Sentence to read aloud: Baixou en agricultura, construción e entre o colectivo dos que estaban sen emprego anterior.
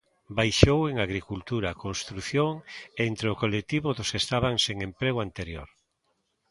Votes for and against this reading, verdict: 2, 0, accepted